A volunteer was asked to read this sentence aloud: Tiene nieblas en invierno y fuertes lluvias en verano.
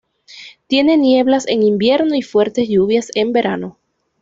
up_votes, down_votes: 2, 0